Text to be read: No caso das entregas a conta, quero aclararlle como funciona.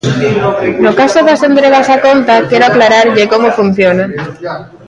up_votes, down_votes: 0, 2